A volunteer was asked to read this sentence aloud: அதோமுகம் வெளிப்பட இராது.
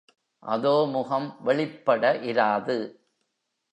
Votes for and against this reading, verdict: 2, 0, accepted